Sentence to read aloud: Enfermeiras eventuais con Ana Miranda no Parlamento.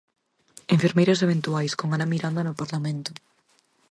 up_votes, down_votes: 6, 0